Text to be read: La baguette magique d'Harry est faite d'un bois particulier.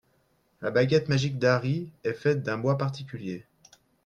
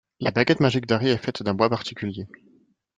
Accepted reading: first